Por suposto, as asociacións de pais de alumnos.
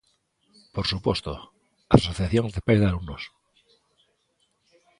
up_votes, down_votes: 2, 0